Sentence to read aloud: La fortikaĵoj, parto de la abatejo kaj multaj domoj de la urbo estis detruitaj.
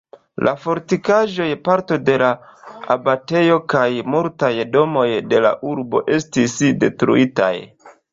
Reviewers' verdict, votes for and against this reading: accepted, 2, 0